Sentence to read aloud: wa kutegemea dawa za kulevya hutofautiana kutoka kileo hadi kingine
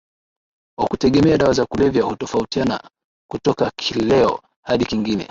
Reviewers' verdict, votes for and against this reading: accepted, 3, 1